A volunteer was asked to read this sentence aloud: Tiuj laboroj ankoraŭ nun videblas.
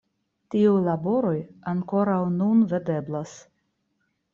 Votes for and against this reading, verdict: 1, 2, rejected